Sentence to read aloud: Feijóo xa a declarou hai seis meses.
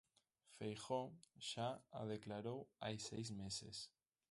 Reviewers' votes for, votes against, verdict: 0, 2, rejected